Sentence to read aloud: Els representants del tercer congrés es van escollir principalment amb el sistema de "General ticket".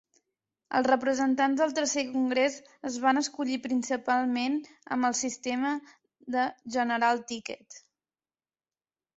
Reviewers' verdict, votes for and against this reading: accepted, 3, 0